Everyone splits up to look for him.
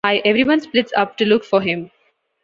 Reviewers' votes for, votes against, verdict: 1, 2, rejected